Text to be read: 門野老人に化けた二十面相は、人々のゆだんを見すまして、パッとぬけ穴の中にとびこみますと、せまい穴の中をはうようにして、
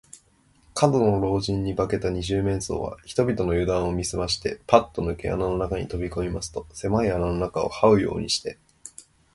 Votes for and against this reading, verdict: 2, 0, accepted